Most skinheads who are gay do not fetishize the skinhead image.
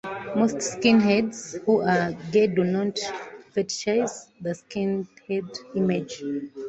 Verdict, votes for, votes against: accepted, 2, 0